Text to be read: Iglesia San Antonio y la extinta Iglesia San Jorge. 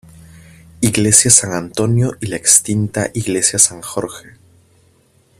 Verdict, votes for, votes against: accepted, 2, 0